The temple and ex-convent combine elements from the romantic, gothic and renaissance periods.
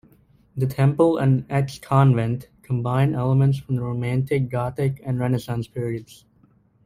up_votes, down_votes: 2, 0